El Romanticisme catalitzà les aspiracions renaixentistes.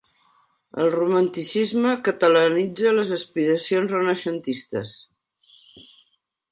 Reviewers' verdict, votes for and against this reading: rejected, 0, 2